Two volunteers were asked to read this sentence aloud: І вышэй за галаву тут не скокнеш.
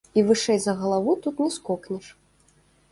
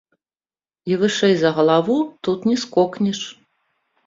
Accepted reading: first